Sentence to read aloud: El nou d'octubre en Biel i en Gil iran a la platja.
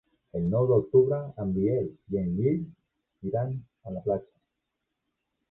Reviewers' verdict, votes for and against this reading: accepted, 2, 0